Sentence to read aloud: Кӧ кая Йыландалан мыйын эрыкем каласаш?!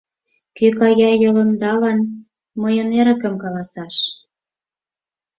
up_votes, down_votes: 0, 4